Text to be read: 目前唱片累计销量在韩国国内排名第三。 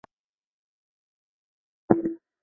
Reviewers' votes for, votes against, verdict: 0, 5, rejected